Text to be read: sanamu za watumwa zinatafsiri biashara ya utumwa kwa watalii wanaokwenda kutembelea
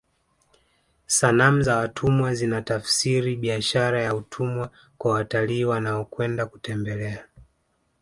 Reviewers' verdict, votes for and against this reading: accepted, 2, 0